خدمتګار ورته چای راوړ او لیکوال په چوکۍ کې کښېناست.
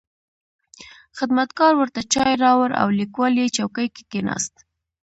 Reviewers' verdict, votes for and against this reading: accepted, 2, 0